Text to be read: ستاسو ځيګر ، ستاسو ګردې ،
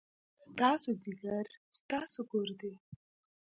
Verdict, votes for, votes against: rejected, 1, 2